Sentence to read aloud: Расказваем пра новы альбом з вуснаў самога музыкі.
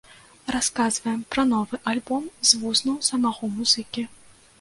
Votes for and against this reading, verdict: 0, 2, rejected